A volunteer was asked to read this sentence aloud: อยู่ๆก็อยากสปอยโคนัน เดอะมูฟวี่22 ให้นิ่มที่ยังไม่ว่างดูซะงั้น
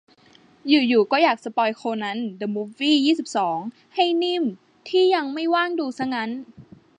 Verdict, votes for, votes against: rejected, 0, 2